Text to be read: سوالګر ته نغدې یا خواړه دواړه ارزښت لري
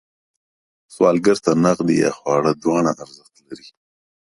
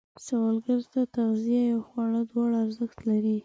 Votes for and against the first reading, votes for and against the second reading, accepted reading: 1, 2, 2, 0, second